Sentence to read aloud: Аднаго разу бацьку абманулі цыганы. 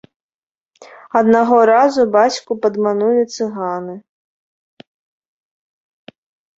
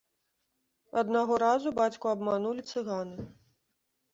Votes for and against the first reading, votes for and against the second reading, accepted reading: 1, 2, 2, 0, second